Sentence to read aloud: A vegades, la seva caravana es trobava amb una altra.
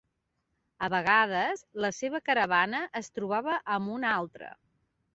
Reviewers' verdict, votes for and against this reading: accepted, 3, 0